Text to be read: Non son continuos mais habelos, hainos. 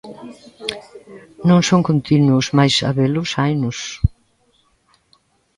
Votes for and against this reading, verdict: 2, 0, accepted